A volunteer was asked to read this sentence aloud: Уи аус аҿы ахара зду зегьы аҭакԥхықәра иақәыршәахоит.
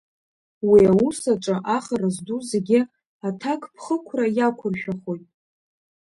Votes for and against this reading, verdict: 2, 0, accepted